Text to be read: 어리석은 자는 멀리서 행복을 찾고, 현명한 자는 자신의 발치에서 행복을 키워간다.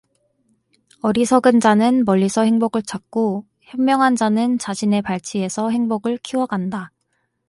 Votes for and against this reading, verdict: 2, 0, accepted